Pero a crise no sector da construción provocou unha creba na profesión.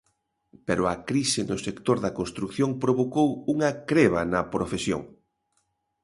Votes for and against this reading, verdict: 1, 2, rejected